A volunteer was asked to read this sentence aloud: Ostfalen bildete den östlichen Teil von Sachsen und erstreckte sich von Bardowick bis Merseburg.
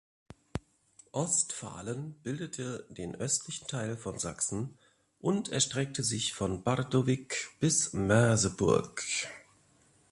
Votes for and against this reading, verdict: 2, 0, accepted